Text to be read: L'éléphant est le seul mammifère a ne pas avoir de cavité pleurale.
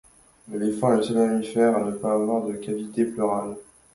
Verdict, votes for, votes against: rejected, 1, 2